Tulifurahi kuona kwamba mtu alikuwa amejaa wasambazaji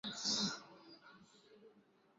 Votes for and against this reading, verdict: 0, 4, rejected